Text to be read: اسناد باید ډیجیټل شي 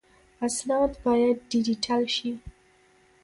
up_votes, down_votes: 2, 1